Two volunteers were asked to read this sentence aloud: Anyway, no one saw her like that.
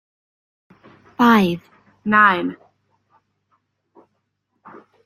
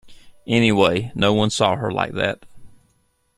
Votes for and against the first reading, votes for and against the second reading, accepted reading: 0, 2, 2, 0, second